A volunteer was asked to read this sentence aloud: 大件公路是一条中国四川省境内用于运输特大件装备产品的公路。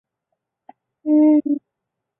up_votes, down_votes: 0, 3